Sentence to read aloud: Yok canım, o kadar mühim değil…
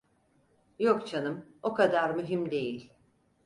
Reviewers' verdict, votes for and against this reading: accepted, 4, 0